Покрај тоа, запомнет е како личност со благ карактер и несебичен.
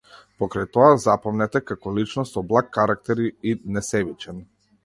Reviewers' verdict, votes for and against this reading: accepted, 2, 0